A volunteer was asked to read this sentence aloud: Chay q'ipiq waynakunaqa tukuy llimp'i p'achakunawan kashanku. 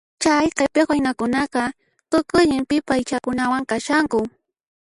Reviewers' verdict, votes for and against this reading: rejected, 0, 2